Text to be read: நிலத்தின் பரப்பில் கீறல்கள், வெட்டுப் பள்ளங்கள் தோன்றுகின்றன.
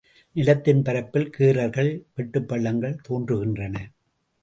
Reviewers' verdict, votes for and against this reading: accepted, 2, 0